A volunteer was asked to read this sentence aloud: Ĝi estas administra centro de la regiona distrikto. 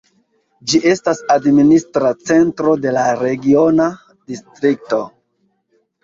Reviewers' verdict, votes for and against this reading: accepted, 2, 0